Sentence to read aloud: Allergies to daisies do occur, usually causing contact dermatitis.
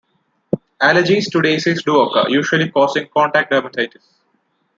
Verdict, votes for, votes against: rejected, 1, 2